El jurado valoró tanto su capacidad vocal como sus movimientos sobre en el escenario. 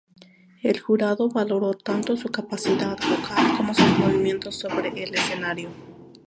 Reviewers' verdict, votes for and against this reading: rejected, 0, 2